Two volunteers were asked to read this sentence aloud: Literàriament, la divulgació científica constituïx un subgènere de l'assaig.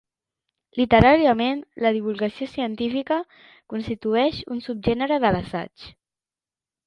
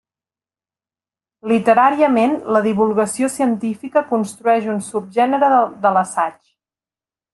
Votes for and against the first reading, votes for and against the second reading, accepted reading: 2, 0, 1, 2, first